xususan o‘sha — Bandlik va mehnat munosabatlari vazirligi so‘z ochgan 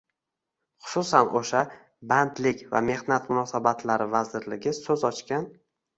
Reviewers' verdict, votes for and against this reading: accepted, 2, 0